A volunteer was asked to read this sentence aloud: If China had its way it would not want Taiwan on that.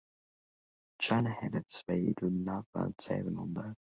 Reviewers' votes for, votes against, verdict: 1, 3, rejected